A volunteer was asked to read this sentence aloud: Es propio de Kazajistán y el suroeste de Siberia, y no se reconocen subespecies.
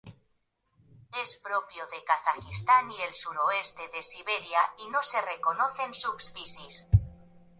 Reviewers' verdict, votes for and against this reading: rejected, 0, 2